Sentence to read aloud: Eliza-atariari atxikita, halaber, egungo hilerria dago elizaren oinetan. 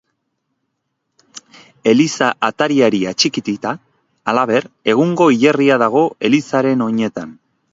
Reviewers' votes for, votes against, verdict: 0, 2, rejected